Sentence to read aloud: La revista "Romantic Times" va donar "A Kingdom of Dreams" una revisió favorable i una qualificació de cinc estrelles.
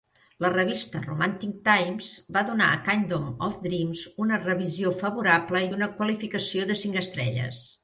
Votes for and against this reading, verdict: 3, 1, accepted